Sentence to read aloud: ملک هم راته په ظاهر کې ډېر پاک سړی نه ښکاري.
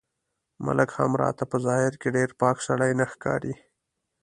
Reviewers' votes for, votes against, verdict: 2, 0, accepted